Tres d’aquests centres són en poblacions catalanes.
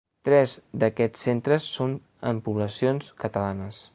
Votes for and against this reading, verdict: 4, 0, accepted